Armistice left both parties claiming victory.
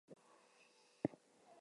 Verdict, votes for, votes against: rejected, 0, 4